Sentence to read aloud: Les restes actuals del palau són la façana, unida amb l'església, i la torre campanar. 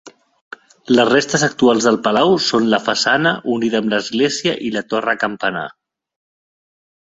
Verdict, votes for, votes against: accepted, 2, 1